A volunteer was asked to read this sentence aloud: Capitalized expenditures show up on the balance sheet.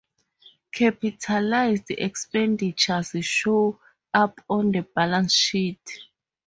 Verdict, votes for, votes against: accepted, 4, 0